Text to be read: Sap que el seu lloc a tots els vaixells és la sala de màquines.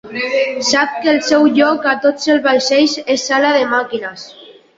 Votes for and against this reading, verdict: 0, 2, rejected